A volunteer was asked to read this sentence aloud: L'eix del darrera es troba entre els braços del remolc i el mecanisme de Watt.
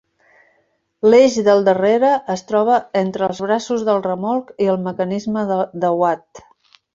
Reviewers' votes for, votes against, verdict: 1, 3, rejected